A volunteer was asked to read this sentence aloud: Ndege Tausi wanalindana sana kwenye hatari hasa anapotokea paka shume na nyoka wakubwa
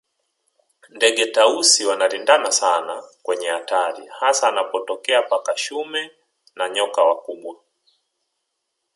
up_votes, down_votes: 4, 1